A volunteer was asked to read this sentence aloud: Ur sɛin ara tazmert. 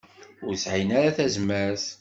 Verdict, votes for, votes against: accepted, 2, 0